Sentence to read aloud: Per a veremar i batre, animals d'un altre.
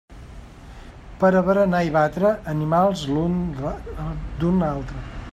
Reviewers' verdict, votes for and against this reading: rejected, 0, 2